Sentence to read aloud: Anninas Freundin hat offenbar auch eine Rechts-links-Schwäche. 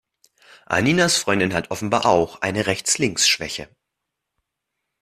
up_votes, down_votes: 2, 0